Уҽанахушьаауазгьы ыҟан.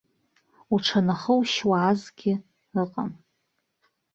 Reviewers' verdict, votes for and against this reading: rejected, 0, 2